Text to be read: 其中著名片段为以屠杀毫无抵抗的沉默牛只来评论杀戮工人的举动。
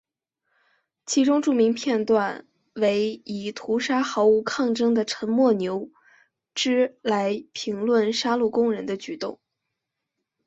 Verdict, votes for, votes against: accepted, 3, 1